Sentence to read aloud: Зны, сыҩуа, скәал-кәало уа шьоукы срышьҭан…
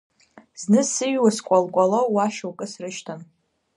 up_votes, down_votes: 2, 0